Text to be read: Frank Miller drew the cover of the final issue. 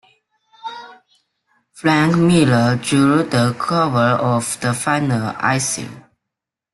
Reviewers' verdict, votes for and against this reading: rejected, 1, 2